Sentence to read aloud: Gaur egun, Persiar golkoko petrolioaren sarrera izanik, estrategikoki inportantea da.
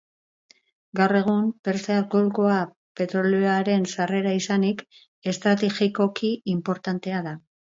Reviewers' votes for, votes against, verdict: 0, 4, rejected